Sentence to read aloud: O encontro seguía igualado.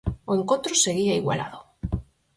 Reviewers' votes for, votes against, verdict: 4, 0, accepted